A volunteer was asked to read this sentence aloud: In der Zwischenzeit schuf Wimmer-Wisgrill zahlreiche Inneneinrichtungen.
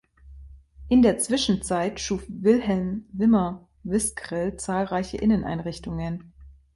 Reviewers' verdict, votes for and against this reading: rejected, 0, 2